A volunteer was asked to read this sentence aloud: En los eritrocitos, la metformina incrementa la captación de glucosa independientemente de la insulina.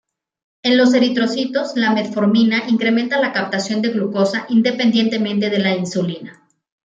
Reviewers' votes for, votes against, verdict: 3, 0, accepted